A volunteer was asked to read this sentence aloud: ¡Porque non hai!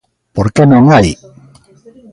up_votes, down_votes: 1, 2